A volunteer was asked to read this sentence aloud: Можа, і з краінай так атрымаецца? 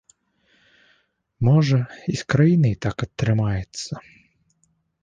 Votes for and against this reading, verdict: 1, 2, rejected